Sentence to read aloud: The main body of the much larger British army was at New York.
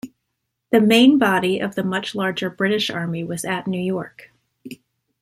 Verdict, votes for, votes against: accepted, 2, 0